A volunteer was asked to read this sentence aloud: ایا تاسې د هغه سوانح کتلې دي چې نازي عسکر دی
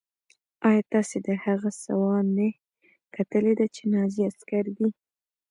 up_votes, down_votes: 1, 2